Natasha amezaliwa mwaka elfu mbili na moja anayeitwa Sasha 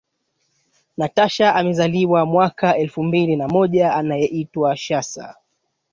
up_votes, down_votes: 2, 1